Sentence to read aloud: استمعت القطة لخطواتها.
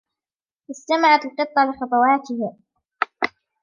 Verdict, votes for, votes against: accepted, 3, 1